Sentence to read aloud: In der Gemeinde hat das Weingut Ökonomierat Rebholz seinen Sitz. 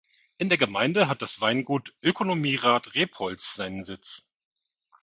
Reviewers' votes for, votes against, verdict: 2, 0, accepted